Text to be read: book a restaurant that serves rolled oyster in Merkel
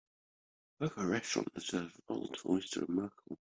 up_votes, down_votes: 0, 2